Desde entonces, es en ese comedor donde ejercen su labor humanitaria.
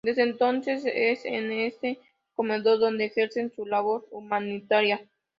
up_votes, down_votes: 4, 0